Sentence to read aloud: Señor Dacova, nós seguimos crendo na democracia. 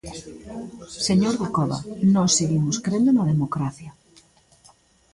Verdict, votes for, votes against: rejected, 0, 2